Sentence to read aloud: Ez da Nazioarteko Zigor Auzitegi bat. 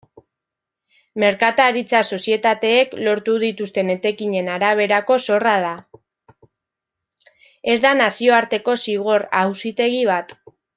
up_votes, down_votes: 1, 2